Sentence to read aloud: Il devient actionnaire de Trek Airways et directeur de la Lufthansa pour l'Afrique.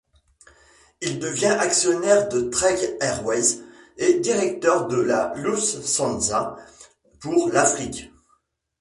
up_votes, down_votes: 1, 2